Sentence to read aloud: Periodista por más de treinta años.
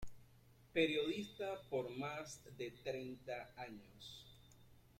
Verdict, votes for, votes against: rejected, 0, 2